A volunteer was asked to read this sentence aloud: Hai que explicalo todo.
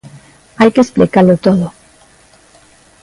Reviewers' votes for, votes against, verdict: 2, 0, accepted